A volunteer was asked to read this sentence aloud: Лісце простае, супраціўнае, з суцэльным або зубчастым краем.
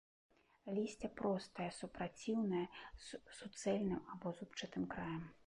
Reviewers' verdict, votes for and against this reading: rejected, 1, 2